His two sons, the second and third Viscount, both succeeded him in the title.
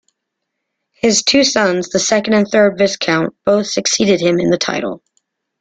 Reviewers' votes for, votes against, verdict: 1, 2, rejected